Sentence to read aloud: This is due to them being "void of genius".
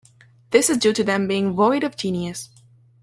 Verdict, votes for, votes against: rejected, 0, 2